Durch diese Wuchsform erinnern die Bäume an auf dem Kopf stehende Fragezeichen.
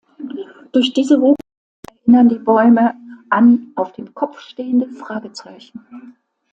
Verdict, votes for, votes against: rejected, 0, 2